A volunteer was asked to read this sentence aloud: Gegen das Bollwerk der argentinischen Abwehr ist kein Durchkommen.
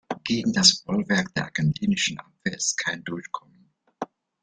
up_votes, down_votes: 1, 2